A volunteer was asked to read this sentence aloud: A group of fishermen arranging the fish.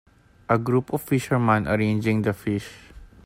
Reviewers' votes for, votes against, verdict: 1, 2, rejected